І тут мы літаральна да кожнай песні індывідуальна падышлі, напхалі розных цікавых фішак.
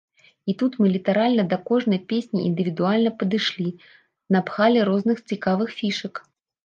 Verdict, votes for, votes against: accepted, 3, 0